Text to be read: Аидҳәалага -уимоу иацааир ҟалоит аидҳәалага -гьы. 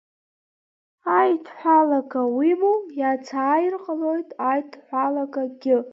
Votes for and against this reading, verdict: 2, 1, accepted